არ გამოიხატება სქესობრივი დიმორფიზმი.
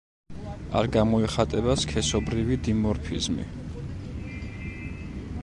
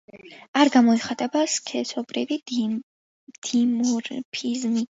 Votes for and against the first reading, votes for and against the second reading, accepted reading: 2, 0, 0, 2, first